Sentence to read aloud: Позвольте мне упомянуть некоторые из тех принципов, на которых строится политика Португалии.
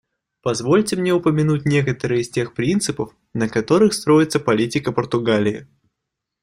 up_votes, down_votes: 2, 0